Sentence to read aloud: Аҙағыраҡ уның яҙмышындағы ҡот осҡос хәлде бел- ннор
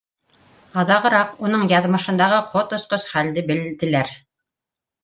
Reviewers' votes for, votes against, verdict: 2, 0, accepted